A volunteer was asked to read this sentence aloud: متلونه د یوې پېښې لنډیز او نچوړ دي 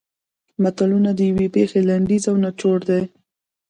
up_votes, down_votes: 2, 1